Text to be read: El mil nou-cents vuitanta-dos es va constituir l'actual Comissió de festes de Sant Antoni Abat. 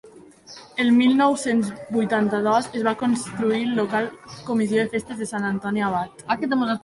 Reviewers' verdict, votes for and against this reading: rejected, 1, 2